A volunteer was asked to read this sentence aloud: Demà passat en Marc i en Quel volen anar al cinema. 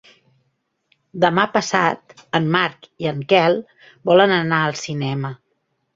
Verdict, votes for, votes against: accepted, 3, 0